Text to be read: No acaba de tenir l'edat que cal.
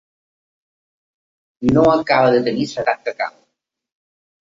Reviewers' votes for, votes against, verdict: 1, 2, rejected